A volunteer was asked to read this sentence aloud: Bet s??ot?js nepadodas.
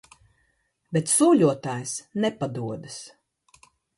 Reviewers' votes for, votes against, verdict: 0, 2, rejected